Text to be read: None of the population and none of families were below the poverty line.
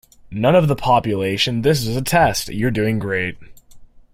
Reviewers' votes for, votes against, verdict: 0, 2, rejected